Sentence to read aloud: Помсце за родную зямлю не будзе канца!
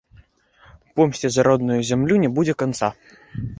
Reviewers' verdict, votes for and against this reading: rejected, 1, 2